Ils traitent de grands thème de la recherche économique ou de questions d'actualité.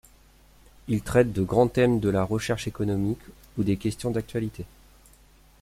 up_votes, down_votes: 1, 2